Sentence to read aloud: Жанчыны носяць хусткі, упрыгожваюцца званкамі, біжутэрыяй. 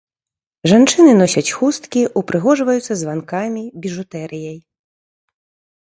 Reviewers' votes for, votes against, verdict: 2, 0, accepted